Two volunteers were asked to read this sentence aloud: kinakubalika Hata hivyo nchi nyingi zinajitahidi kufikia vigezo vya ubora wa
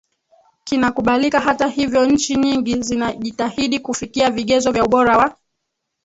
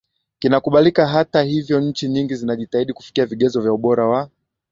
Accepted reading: second